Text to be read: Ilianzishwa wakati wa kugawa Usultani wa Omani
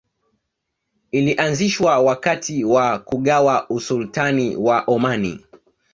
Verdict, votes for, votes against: accepted, 2, 1